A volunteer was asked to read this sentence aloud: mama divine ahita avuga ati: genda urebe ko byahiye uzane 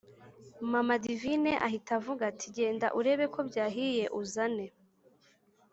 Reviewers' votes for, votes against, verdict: 2, 0, accepted